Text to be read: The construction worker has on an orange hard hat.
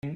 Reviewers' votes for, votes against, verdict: 0, 3, rejected